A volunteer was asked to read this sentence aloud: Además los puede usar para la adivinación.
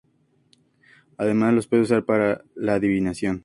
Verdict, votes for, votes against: rejected, 0, 2